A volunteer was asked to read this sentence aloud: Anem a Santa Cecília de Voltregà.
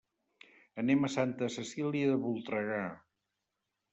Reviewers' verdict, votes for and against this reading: accepted, 3, 0